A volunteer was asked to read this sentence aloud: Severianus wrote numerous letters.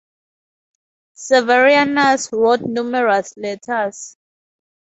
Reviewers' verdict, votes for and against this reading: accepted, 4, 0